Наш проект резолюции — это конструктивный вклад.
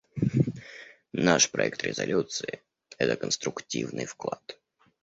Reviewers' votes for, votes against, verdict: 2, 0, accepted